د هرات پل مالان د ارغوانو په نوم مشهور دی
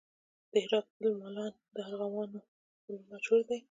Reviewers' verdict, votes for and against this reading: rejected, 0, 2